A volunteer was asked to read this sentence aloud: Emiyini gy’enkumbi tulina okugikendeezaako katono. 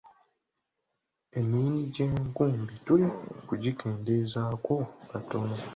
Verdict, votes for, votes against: accepted, 2, 1